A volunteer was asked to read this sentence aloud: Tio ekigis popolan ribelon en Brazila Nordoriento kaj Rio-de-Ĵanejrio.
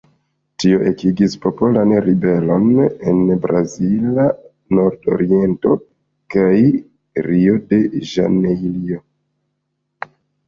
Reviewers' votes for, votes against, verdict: 1, 2, rejected